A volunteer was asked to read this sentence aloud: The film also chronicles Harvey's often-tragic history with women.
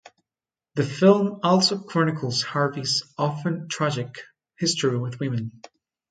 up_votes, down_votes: 2, 0